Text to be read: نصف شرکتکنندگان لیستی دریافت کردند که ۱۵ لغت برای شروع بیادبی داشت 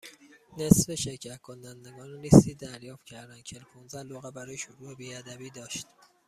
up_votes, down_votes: 0, 2